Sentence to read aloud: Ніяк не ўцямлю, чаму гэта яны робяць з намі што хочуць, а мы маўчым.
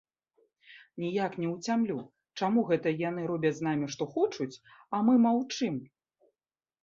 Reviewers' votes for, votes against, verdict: 2, 0, accepted